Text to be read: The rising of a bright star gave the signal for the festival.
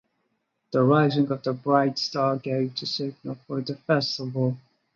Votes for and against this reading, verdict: 2, 2, rejected